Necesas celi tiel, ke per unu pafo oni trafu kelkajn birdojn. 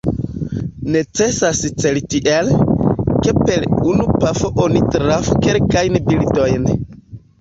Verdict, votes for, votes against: rejected, 0, 2